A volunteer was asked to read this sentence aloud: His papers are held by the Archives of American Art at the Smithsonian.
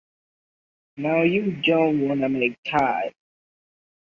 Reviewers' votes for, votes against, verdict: 0, 2, rejected